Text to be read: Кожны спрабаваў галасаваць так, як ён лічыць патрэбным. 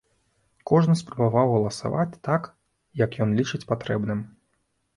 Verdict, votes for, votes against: accepted, 3, 0